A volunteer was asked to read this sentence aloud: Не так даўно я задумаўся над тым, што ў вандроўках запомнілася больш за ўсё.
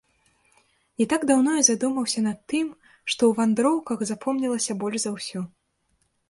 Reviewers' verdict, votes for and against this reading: rejected, 0, 2